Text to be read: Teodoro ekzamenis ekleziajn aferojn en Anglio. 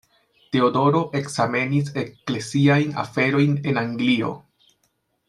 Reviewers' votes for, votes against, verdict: 2, 0, accepted